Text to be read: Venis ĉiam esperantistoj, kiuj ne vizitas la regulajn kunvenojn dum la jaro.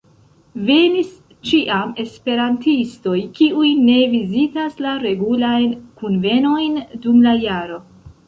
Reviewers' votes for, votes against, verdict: 0, 2, rejected